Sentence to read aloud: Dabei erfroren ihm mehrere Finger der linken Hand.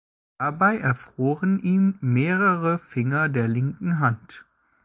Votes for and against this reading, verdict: 1, 2, rejected